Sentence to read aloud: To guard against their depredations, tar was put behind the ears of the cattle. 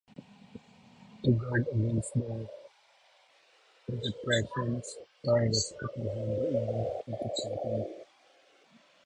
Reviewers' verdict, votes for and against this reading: rejected, 0, 2